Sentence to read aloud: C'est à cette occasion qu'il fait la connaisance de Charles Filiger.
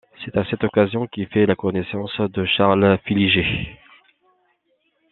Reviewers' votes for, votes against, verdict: 2, 0, accepted